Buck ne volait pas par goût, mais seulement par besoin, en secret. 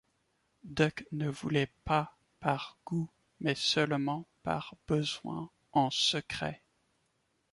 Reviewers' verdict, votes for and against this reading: accepted, 2, 1